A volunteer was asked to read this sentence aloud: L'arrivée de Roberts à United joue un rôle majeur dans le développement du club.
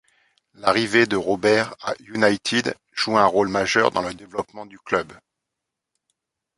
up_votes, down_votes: 0, 2